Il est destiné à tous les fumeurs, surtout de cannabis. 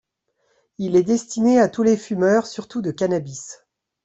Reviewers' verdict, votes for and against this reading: accepted, 2, 0